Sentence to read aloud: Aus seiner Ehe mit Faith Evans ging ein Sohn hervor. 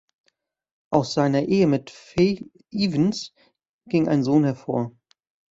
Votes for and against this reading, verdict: 1, 2, rejected